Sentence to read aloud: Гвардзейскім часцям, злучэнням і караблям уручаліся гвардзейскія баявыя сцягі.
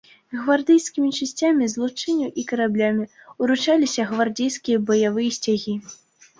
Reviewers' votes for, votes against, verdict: 1, 2, rejected